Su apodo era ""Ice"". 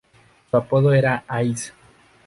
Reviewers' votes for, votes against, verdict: 2, 0, accepted